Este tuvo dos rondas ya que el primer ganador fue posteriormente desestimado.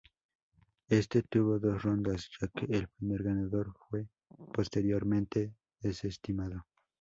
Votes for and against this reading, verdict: 2, 0, accepted